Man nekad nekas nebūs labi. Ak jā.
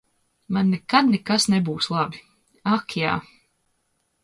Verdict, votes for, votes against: accepted, 2, 0